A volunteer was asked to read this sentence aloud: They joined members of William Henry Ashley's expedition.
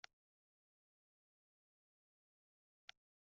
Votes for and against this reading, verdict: 0, 2, rejected